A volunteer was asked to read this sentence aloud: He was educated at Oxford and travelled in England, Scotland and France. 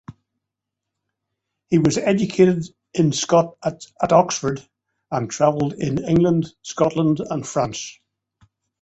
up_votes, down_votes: 1, 2